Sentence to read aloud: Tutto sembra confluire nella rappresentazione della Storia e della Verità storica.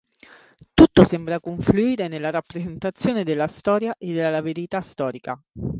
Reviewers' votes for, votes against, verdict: 2, 1, accepted